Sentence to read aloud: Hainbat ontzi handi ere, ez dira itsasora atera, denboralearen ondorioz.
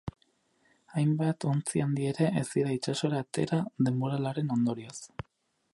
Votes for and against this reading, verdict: 4, 0, accepted